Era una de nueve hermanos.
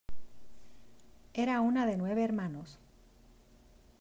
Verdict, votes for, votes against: accepted, 2, 1